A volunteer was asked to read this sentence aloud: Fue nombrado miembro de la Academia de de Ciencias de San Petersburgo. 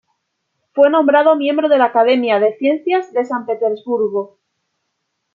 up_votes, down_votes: 2, 0